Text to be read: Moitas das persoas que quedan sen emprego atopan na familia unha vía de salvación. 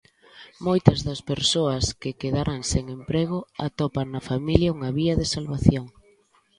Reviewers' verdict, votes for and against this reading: rejected, 0, 2